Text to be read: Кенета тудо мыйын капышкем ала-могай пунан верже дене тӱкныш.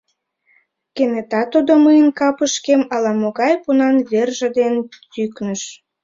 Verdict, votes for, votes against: rejected, 0, 2